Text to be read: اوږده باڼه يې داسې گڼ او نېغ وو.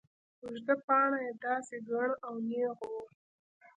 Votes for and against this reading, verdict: 2, 0, accepted